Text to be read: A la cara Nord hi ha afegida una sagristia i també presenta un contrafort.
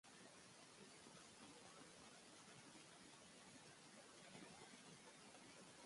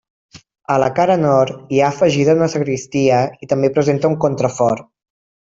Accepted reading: second